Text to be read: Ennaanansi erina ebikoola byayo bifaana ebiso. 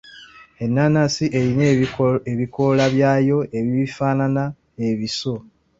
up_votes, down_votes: 1, 2